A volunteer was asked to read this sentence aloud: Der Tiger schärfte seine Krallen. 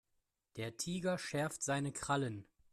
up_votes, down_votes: 1, 2